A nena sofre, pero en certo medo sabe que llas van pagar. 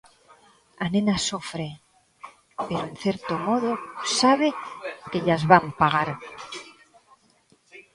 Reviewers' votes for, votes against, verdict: 0, 2, rejected